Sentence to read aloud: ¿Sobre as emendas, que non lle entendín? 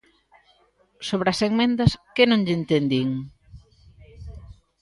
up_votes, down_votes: 1, 2